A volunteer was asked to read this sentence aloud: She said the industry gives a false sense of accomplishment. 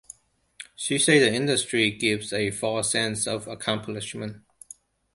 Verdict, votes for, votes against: accepted, 2, 1